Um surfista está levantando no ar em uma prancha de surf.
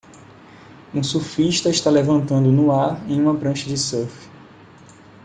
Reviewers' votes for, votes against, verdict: 2, 0, accepted